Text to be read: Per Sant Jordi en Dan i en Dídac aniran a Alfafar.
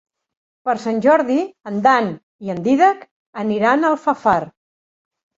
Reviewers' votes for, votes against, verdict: 0, 2, rejected